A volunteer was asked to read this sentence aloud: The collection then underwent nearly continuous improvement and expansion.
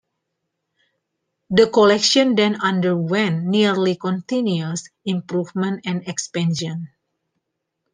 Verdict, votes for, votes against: accepted, 2, 0